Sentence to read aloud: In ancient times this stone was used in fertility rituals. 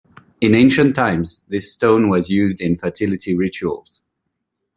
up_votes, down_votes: 2, 0